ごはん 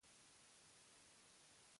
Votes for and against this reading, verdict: 0, 2, rejected